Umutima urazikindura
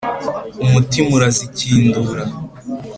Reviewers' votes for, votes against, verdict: 3, 0, accepted